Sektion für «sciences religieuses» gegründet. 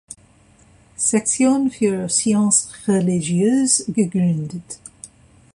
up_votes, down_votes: 0, 2